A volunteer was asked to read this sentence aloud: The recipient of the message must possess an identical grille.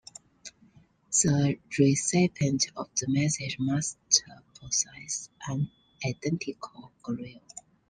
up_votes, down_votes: 2, 1